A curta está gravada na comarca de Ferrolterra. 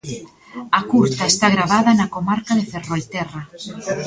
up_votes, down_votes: 1, 2